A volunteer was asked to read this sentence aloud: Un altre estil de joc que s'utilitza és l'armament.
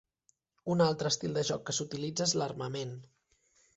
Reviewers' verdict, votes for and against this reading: accepted, 3, 0